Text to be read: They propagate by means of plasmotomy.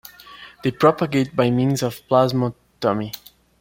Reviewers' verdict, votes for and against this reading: accepted, 2, 0